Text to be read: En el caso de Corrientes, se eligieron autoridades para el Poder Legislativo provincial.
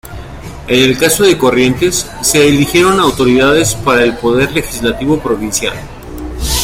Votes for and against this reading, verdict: 2, 0, accepted